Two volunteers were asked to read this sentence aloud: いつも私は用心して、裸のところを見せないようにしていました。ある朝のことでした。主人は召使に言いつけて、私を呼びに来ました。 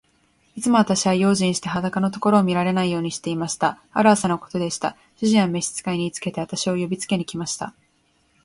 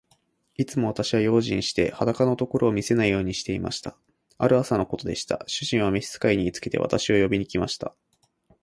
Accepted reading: second